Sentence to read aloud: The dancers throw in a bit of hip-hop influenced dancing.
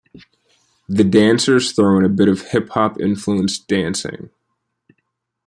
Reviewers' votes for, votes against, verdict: 2, 0, accepted